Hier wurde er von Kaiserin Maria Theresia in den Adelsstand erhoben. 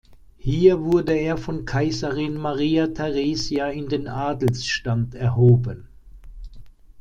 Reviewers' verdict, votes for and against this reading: accepted, 2, 0